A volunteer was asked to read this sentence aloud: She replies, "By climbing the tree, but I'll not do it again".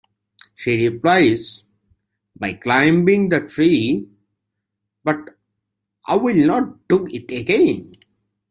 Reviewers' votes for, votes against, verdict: 2, 0, accepted